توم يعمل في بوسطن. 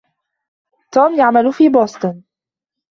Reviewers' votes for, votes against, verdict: 0, 2, rejected